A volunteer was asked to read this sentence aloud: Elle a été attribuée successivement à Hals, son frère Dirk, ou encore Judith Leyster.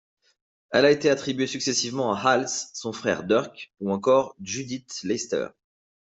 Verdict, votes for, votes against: accepted, 2, 1